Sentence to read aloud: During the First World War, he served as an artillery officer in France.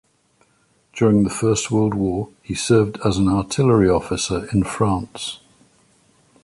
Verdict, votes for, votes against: accepted, 2, 0